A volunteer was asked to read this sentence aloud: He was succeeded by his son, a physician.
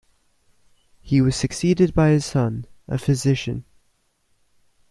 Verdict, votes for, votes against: accepted, 2, 0